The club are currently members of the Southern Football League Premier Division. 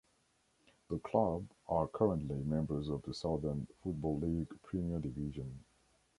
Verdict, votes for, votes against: accepted, 2, 1